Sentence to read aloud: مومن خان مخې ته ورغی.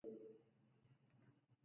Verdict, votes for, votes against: rejected, 1, 2